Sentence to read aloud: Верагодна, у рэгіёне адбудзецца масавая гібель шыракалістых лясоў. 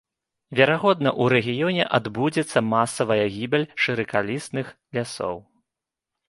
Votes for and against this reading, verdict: 2, 1, accepted